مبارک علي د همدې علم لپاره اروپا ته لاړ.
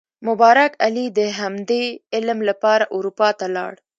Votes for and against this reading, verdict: 2, 0, accepted